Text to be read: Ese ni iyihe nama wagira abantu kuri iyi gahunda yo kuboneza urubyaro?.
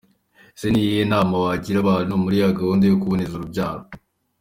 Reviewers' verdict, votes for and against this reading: rejected, 1, 2